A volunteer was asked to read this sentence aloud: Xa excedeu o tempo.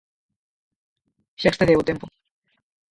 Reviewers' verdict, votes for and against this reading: rejected, 2, 4